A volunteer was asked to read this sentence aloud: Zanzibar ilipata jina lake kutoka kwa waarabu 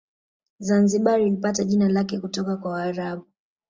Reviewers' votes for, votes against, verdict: 3, 1, accepted